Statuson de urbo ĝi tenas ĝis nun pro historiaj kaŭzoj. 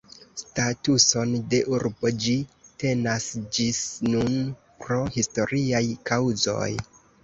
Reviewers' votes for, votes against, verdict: 2, 1, accepted